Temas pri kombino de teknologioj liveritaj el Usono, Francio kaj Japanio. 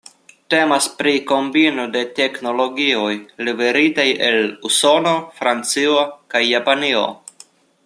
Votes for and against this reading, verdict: 2, 0, accepted